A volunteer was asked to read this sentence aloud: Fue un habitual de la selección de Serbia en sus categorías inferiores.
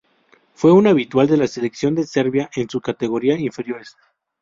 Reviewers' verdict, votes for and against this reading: rejected, 0, 4